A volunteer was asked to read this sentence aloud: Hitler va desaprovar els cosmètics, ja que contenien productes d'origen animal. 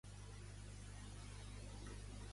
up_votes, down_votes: 0, 2